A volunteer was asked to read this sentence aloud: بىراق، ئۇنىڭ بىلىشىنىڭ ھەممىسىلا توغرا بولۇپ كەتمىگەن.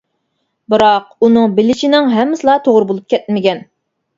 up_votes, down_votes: 2, 1